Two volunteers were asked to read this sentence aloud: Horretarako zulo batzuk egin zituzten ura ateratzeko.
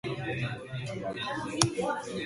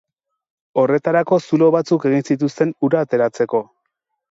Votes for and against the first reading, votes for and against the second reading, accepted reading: 0, 2, 2, 0, second